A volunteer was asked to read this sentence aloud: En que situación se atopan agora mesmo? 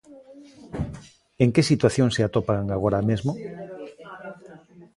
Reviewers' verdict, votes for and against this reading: rejected, 0, 2